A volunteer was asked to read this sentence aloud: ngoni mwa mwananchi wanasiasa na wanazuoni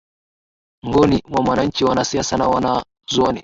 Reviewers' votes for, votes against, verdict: 1, 2, rejected